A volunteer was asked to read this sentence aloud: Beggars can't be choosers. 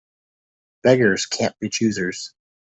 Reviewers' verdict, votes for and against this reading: accepted, 2, 0